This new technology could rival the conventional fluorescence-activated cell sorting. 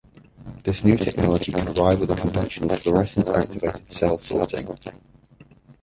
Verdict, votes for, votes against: rejected, 1, 2